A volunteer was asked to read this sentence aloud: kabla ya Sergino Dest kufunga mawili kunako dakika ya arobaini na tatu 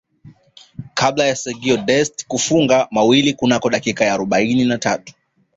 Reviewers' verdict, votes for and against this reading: accepted, 2, 1